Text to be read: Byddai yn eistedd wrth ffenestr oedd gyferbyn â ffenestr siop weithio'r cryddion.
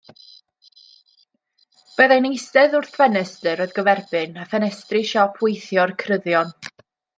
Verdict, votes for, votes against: rejected, 1, 2